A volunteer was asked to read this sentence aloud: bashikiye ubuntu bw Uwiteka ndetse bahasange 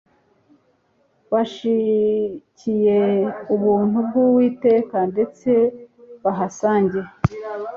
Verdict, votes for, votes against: accepted, 2, 0